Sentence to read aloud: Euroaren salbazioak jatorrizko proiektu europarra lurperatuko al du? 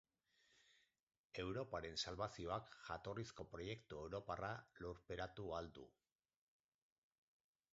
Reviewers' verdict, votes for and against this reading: rejected, 0, 4